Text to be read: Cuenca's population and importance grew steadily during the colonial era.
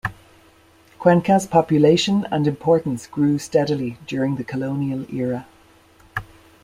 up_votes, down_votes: 2, 0